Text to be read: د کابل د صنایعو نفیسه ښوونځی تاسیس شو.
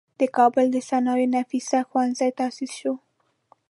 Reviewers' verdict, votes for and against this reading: accepted, 2, 0